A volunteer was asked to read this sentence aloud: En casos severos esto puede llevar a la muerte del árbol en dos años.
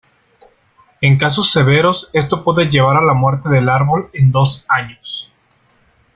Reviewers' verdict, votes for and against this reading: accepted, 2, 1